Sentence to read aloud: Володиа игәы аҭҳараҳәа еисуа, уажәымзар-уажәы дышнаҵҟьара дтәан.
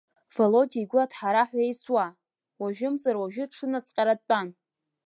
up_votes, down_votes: 0, 2